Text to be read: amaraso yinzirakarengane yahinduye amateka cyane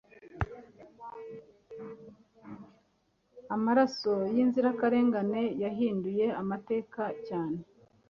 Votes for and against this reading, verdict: 3, 0, accepted